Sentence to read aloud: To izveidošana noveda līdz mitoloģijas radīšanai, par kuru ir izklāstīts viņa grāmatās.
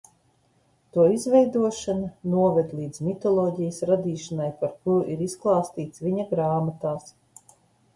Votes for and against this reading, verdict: 2, 0, accepted